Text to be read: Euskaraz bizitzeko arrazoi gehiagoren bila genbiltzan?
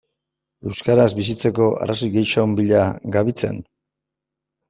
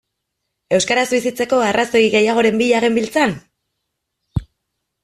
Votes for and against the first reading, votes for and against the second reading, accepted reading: 0, 2, 2, 0, second